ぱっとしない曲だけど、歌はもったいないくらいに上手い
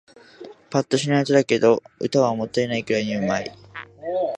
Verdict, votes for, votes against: rejected, 1, 2